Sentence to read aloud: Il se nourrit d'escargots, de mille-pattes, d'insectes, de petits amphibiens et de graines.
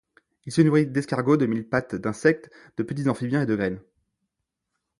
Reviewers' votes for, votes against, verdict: 0, 2, rejected